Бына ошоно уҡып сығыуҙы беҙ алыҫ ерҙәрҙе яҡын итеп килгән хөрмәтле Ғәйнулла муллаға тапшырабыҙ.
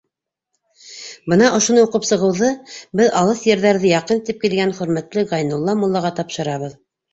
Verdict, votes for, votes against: accepted, 2, 0